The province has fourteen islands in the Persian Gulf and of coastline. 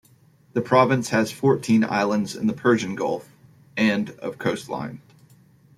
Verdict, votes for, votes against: accepted, 2, 0